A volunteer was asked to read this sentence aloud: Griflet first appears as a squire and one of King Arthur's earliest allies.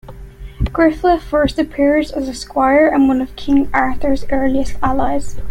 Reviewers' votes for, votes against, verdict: 0, 2, rejected